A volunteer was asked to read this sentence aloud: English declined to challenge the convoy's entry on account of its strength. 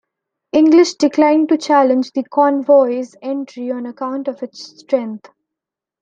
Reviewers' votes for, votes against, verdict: 2, 1, accepted